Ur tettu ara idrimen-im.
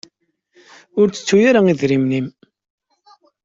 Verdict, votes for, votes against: accepted, 2, 0